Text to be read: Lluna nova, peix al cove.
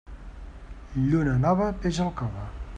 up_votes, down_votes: 2, 0